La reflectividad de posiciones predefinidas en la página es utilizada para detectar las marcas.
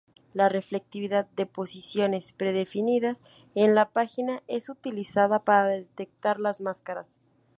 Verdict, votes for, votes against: rejected, 0, 4